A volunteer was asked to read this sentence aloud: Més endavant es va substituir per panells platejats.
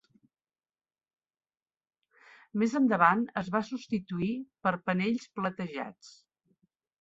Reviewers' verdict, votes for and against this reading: accepted, 5, 1